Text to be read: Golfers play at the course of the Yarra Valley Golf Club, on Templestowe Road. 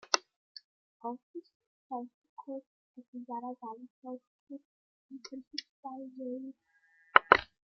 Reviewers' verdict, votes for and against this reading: rejected, 0, 2